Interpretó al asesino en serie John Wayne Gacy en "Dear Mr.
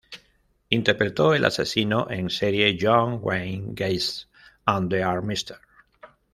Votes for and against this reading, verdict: 1, 2, rejected